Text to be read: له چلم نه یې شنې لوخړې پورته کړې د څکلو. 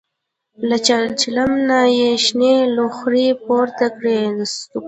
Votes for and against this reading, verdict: 1, 2, rejected